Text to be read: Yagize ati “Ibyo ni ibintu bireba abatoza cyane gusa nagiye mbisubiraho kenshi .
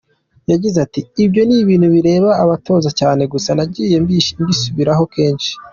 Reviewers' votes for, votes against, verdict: 2, 1, accepted